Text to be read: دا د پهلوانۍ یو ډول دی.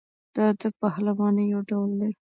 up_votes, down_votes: 1, 2